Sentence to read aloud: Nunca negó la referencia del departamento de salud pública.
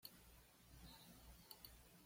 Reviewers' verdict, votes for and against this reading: rejected, 1, 2